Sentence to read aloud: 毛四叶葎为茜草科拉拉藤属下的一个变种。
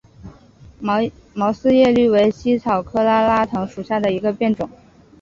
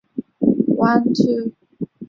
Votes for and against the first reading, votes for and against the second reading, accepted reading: 2, 0, 0, 2, first